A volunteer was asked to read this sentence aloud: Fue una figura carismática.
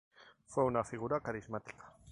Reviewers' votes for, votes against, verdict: 2, 0, accepted